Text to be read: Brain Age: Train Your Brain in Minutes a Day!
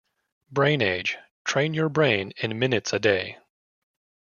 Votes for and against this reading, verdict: 2, 1, accepted